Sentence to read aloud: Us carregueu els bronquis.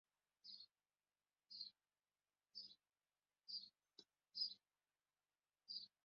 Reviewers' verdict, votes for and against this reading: rejected, 0, 2